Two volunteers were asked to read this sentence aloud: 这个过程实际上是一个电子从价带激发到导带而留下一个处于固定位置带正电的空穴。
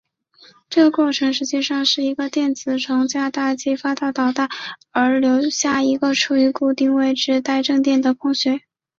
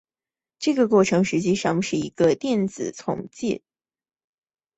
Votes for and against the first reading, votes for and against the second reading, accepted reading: 3, 2, 0, 2, first